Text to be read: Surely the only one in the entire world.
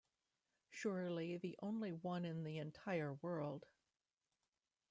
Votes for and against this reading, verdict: 2, 0, accepted